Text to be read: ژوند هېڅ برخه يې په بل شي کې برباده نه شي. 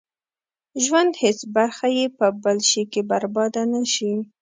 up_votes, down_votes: 2, 0